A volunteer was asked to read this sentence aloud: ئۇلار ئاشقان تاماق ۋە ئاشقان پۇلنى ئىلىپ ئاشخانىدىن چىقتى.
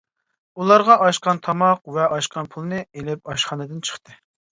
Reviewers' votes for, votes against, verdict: 0, 2, rejected